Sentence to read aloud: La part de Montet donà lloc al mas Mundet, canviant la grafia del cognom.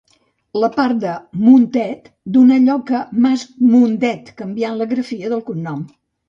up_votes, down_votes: 2, 0